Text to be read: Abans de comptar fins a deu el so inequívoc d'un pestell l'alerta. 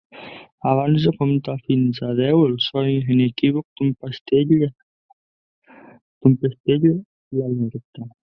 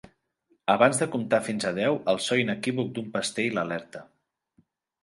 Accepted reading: second